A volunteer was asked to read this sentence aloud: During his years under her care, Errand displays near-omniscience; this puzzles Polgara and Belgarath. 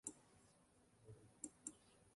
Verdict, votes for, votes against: rejected, 0, 2